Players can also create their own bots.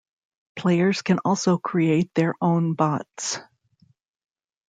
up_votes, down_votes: 2, 0